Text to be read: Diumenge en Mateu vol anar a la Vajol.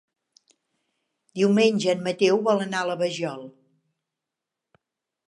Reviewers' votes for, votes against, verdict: 2, 0, accepted